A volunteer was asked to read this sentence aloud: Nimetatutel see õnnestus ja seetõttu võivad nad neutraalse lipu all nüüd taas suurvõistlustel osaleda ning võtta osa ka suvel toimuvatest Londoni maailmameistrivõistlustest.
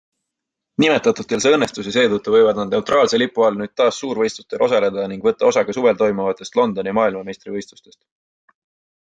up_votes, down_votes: 2, 0